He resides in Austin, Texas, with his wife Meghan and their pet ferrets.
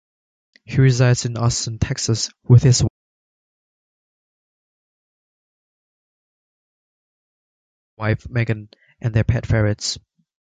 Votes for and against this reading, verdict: 0, 2, rejected